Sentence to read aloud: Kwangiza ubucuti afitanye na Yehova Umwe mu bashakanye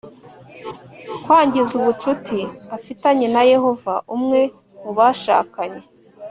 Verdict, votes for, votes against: accepted, 2, 0